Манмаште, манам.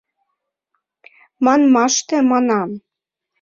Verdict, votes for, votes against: accepted, 2, 0